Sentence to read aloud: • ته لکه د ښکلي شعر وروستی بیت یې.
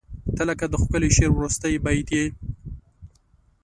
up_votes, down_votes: 2, 0